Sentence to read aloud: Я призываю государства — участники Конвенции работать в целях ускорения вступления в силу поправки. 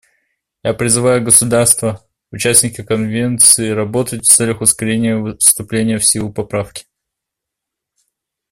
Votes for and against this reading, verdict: 2, 0, accepted